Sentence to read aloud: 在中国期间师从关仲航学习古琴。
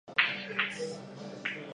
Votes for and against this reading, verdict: 0, 2, rejected